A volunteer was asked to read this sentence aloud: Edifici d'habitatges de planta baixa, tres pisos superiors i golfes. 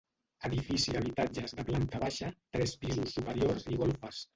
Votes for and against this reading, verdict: 2, 0, accepted